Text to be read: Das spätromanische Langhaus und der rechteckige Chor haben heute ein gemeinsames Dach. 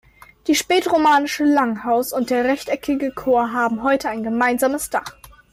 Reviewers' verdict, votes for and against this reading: rejected, 1, 2